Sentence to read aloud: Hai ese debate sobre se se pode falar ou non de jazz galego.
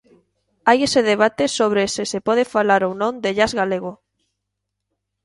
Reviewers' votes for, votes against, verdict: 2, 0, accepted